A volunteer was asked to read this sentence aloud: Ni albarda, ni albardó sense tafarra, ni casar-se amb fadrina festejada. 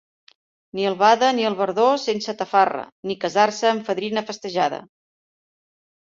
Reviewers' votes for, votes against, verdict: 0, 2, rejected